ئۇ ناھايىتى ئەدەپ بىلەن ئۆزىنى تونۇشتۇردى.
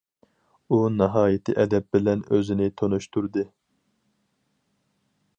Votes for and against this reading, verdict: 4, 0, accepted